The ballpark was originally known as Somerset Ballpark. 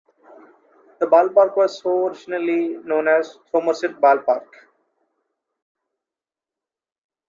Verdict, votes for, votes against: accepted, 2, 1